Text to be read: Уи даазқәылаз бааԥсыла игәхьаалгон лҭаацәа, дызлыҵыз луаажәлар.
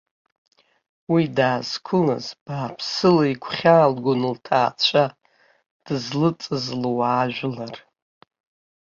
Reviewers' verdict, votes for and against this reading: rejected, 1, 2